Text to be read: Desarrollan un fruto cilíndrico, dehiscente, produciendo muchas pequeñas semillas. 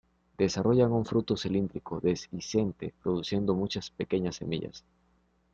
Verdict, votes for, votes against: rejected, 0, 2